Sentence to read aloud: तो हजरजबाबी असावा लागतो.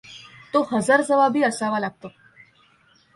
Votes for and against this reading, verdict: 2, 0, accepted